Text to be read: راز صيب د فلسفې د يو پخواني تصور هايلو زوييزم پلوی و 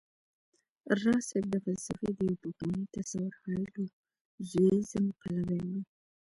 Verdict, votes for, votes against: rejected, 0, 2